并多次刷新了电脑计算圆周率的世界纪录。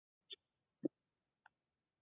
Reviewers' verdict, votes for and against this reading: rejected, 0, 2